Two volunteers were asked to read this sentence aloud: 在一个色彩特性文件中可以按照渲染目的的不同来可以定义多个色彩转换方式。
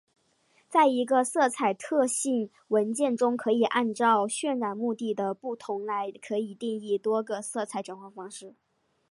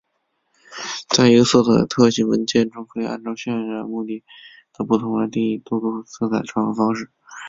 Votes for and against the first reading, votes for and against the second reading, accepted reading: 4, 1, 1, 2, first